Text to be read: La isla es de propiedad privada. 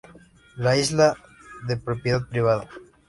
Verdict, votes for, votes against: rejected, 0, 2